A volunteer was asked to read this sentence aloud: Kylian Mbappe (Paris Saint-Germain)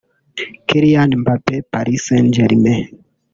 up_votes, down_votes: 1, 2